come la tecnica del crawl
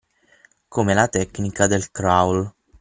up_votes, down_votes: 6, 3